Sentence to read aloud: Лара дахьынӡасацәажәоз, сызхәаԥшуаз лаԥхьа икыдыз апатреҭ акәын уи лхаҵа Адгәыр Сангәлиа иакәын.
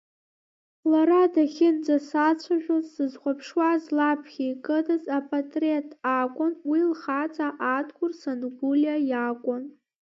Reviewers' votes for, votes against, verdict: 0, 2, rejected